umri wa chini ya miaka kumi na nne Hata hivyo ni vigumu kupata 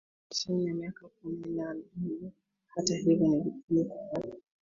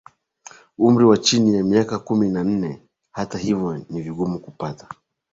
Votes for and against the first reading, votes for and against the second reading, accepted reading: 0, 2, 15, 2, second